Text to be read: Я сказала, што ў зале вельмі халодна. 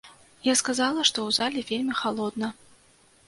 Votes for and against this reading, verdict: 2, 0, accepted